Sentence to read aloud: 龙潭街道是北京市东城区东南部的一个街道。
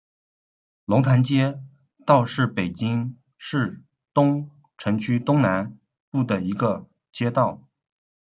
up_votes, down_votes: 1, 2